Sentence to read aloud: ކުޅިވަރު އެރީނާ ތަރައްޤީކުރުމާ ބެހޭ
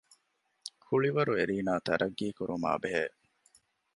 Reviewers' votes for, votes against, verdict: 2, 0, accepted